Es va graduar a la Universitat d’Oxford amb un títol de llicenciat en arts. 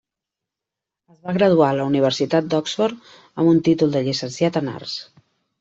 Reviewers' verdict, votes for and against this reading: rejected, 1, 2